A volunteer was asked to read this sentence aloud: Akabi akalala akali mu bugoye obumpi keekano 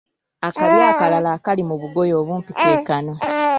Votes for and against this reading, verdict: 1, 2, rejected